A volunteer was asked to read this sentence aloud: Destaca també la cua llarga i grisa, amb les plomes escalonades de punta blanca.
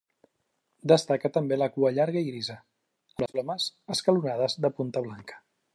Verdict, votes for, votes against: rejected, 0, 2